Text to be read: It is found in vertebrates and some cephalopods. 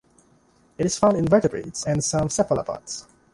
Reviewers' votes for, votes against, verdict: 2, 0, accepted